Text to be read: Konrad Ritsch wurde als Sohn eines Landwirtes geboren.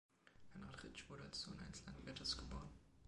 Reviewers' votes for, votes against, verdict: 2, 1, accepted